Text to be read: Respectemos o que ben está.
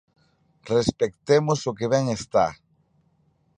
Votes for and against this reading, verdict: 2, 0, accepted